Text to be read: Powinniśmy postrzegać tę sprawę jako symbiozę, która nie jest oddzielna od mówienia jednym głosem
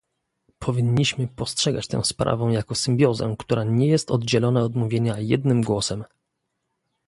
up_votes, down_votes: 1, 2